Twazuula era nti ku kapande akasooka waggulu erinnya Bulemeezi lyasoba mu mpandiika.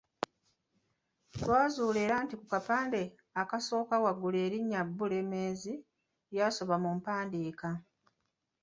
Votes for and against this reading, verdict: 2, 0, accepted